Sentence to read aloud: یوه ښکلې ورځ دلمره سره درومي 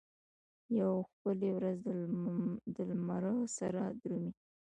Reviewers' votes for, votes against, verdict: 2, 0, accepted